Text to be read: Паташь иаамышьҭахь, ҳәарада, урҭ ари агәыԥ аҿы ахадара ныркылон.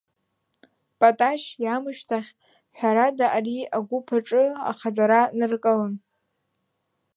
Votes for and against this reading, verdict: 0, 2, rejected